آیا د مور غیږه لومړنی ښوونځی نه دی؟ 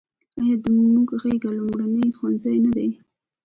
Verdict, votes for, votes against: accepted, 3, 1